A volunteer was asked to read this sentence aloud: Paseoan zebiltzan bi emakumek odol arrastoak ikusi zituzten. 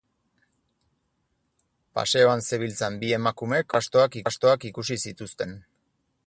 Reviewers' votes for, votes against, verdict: 0, 4, rejected